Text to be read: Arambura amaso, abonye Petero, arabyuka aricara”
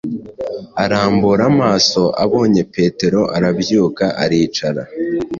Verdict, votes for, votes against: accepted, 2, 0